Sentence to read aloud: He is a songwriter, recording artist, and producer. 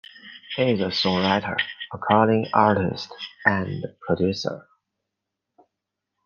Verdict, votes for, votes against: accepted, 2, 0